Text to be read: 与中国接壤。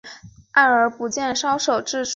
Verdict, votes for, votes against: rejected, 0, 2